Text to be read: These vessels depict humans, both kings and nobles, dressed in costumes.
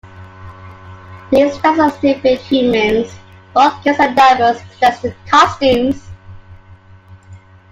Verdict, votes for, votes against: rejected, 1, 2